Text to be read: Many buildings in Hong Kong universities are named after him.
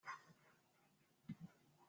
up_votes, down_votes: 0, 2